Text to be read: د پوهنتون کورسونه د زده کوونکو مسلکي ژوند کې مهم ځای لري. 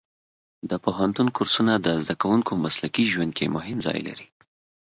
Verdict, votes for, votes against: accepted, 2, 0